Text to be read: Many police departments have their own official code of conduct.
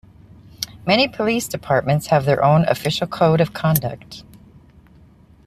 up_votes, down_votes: 3, 0